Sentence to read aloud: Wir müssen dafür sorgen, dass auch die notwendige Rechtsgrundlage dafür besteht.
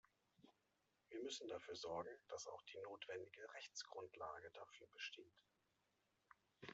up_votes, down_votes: 0, 2